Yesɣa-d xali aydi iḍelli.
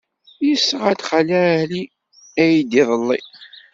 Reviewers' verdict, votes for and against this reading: rejected, 0, 2